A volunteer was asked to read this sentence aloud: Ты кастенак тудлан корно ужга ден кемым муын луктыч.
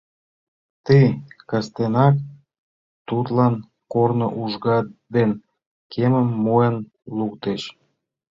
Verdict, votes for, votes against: rejected, 1, 2